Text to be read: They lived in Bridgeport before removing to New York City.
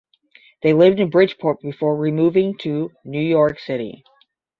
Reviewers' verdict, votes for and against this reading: accepted, 10, 0